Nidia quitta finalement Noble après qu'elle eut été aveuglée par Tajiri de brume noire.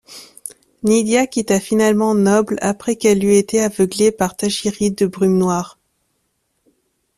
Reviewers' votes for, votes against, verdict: 2, 0, accepted